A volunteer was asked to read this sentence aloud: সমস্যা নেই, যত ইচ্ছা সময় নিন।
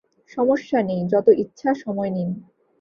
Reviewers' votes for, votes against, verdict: 2, 0, accepted